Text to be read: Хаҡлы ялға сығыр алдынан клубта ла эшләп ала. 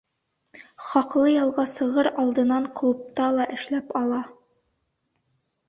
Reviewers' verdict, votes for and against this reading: accepted, 2, 0